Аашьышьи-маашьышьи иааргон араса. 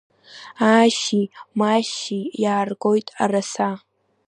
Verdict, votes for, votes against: accepted, 2, 1